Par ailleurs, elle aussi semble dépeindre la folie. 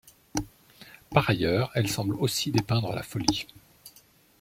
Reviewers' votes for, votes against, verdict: 0, 2, rejected